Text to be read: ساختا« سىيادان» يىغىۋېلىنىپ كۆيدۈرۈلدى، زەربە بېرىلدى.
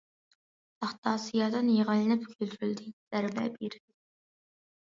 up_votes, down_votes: 0, 2